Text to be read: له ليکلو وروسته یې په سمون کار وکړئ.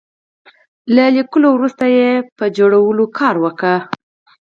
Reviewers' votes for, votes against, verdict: 0, 4, rejected